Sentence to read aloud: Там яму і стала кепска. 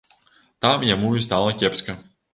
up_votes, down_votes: 2, 0